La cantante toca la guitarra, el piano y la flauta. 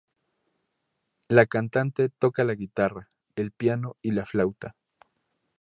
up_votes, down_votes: 2, 0